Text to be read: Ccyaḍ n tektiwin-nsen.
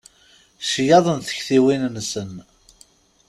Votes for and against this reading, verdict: 2, 0, accepted